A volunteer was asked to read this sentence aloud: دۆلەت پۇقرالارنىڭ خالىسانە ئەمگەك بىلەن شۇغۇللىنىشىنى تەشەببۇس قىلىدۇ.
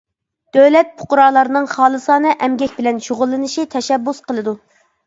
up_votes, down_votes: 0, 2